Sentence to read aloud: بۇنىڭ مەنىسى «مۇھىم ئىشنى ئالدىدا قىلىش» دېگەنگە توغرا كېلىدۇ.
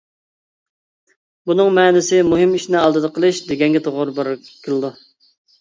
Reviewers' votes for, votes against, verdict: 0, 2, rejected